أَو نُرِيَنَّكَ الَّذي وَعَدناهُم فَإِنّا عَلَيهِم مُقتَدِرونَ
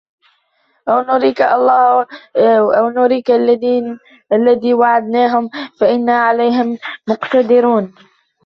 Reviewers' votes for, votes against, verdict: 0, 2, rejected